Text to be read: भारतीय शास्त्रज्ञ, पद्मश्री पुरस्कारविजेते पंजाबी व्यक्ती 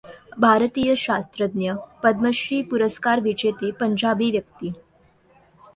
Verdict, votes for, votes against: accepted, 2, 0